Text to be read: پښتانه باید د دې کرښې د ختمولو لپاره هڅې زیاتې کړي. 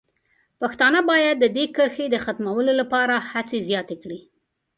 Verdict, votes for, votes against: accepted, 2, 0